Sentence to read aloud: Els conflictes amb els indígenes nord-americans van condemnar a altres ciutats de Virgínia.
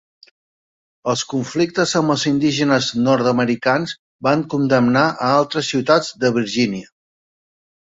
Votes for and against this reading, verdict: 2, 0, accepted